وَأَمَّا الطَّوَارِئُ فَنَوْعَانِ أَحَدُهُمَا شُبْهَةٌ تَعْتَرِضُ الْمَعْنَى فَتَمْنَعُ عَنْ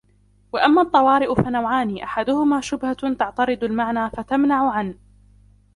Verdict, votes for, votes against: rejected, 1, 2